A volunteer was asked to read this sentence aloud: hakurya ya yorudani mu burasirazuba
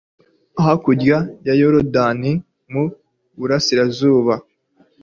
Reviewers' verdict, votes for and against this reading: accepted, 2, 0